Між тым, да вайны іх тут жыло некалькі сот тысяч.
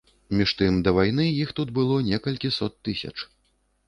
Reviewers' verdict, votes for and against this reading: rejected, 0, 2